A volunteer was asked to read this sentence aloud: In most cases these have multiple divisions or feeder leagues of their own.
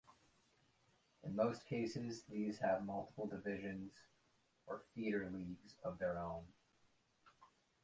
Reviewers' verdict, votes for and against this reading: rejected, 0, 2